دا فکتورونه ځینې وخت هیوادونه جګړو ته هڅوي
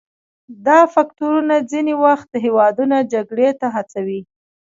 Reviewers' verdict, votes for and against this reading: rejected, 1, 2